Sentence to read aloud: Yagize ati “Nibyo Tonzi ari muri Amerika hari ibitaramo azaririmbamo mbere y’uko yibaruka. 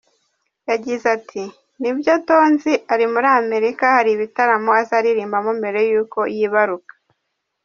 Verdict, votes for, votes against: rejected, 1, 2